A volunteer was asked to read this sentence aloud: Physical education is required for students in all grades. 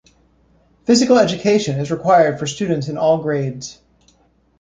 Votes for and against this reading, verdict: 2, 0, accepted